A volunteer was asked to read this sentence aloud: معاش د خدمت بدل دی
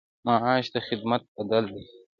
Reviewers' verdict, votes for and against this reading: rejected, 1, 2